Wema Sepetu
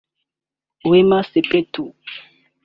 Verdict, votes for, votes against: rejected, 0, 2